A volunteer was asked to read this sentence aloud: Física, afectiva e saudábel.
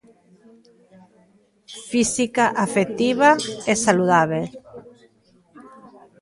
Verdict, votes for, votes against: rejected, 0, 2